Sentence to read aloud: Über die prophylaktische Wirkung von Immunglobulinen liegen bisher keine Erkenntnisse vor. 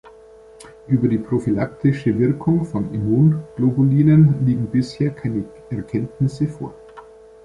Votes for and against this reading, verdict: 2, 0, accepted